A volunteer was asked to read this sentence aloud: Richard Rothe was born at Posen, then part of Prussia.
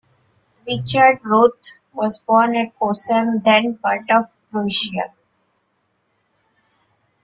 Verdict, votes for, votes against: rejected, 0, 2